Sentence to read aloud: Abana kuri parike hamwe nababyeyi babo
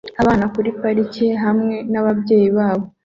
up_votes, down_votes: 2, 0